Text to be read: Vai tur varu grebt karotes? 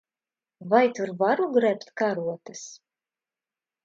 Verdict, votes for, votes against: accepted, 2, 0